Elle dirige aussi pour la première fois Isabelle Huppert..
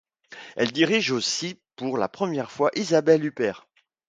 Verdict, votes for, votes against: accepted, 2, 0